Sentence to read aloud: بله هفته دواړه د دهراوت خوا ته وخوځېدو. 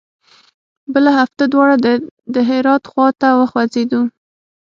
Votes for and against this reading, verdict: 0, 6, rejected